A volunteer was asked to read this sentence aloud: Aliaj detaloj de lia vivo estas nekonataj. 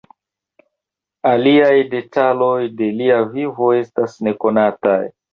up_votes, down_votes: 2, 1